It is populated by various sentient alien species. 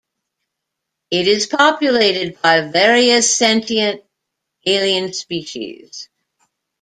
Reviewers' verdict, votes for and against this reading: accepted, 2, 1